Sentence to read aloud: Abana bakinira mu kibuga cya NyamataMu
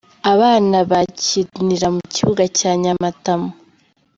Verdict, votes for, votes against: rejected, 1, 2